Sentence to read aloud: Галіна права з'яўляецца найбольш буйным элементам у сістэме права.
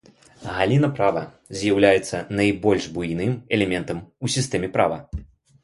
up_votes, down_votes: 2, 0